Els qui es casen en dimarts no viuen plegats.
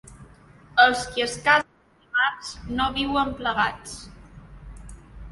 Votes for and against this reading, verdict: 0, 2, rejected